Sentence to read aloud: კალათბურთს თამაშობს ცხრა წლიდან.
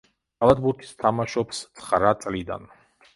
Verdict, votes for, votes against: rejected, 0, 2